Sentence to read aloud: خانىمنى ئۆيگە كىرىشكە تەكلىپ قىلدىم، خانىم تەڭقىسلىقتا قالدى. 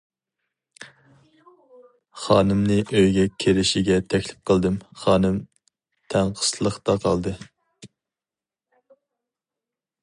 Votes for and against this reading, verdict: 0, 2, rejected